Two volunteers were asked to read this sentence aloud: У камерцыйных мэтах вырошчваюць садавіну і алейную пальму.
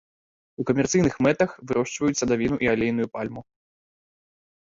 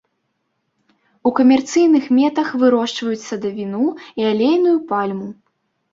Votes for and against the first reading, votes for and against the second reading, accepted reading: 2, 0, 1, 2, first